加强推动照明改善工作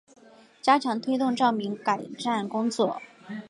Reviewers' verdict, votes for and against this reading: accepted, 3, 0